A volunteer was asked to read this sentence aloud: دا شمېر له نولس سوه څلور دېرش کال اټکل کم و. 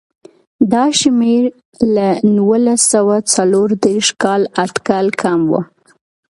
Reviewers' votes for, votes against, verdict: 2, 0, accepted